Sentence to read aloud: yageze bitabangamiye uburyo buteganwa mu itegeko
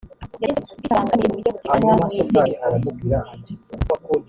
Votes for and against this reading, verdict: 0, 2, rejected